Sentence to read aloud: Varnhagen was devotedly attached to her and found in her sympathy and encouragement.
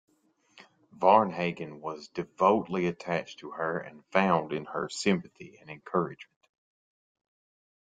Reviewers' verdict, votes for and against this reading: rejected, 0, 2